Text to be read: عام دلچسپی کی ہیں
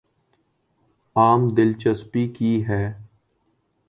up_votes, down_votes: 0, 2